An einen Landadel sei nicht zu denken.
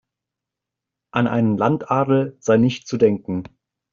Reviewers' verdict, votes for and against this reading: accepted, 2, 0